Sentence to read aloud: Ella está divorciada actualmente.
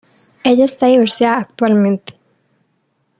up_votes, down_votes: 0, 2